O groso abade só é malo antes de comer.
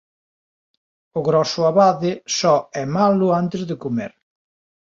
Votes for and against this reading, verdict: 1, 2, rejected